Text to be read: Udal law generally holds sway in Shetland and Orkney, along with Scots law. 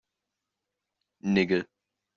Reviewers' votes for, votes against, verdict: 0, 2, rejected